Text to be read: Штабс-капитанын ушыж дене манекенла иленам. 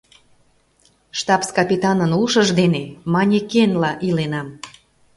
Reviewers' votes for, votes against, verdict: 2, 0, accepted